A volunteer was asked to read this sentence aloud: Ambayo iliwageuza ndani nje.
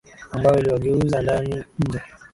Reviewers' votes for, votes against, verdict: 2, 0, accepted